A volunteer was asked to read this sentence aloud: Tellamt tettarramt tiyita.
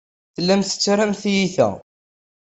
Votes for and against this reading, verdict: 2, 0, accepted